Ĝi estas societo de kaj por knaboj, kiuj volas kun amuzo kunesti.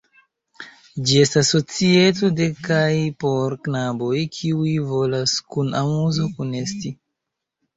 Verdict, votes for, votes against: accepted, 3, 1